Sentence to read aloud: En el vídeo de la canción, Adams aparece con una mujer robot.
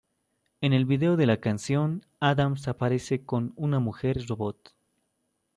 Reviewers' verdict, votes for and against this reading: accepted, 2, 0